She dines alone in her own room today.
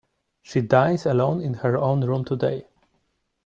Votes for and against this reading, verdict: 2, 1, accepted